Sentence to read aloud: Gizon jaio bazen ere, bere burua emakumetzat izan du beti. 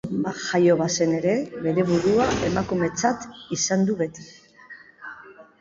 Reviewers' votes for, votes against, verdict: 1, 2, rejected